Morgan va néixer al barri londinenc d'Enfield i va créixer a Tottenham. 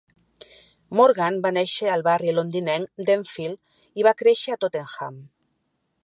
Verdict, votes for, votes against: accepted, 5, 0